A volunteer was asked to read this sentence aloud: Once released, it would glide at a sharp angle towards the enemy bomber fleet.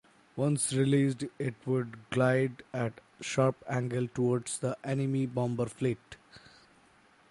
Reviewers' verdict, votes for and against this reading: rejected, 0, 2